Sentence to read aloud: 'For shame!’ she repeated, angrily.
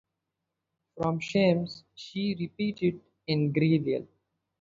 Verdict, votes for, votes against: rejected, 0, 2